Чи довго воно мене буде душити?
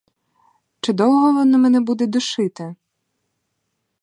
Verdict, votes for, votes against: accepted, 4, 0